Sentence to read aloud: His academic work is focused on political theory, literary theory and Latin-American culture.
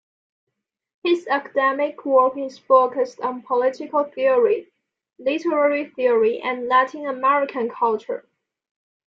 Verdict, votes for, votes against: accepted, 2, 0